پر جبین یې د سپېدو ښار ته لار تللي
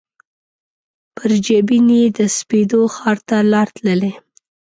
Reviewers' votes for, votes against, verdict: 2, 0, accepted